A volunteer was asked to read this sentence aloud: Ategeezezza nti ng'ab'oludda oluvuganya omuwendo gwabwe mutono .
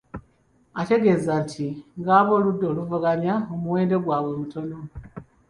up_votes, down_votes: 1, 2